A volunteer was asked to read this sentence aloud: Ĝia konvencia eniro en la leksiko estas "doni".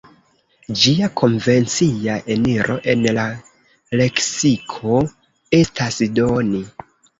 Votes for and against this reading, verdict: 2, 0, accepted